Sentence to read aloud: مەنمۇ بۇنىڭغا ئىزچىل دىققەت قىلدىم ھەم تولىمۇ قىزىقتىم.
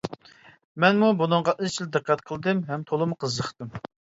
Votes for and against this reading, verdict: 2, 0, accepted